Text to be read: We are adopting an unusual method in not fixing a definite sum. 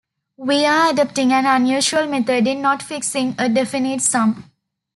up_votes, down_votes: 2, 0